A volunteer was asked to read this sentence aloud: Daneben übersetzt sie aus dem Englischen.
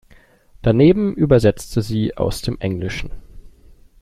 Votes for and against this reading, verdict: 0, 2, rejected